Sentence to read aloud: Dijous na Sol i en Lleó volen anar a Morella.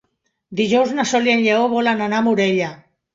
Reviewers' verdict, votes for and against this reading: accepted, 2, 0